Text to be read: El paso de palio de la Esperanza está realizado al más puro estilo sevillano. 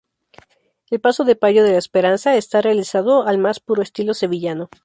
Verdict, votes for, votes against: rejected, 0, 2